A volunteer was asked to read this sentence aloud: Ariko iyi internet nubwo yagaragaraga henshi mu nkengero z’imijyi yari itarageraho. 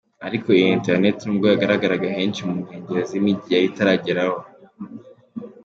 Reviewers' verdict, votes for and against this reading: accepted, 2, 0